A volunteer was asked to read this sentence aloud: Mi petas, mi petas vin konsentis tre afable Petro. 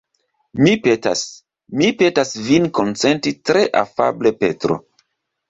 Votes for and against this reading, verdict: 2, 1, accepted